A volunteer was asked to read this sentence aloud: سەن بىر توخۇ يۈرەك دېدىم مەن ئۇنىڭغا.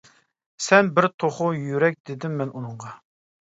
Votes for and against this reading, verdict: 2, 0, accepted